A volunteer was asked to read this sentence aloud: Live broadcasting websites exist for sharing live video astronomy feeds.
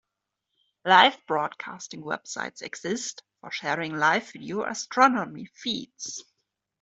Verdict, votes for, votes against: accepted, 2, 0